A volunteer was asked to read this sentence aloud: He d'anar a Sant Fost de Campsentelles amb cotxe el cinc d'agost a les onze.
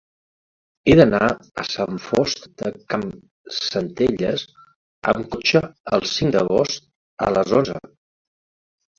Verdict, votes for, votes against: rejected, 1, 2